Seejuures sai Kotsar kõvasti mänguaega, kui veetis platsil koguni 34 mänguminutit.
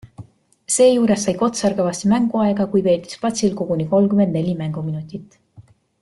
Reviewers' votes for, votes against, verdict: 0, 2, rejected